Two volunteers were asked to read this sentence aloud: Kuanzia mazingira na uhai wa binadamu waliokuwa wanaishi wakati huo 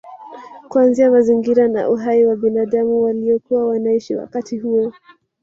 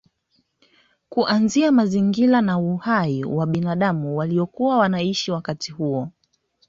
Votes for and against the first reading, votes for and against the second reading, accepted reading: 1, 2, 2, 0, second